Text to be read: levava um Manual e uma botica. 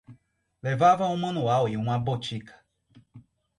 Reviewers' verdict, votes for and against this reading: accepted, 4, 0